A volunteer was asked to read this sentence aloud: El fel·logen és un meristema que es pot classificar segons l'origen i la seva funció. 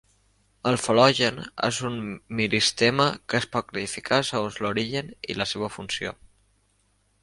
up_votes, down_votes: 2, 0